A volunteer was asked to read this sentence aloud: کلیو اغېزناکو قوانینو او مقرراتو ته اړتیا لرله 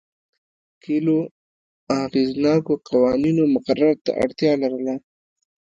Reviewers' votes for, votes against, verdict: 0, 2, rejected